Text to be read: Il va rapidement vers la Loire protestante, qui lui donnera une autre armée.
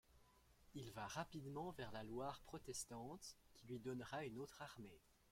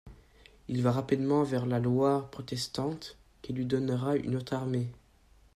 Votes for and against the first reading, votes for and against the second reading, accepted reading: 0, 2, 2, 0, second